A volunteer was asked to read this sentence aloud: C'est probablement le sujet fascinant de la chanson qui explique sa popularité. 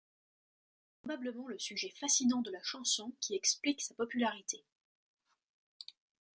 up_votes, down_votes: 1, 2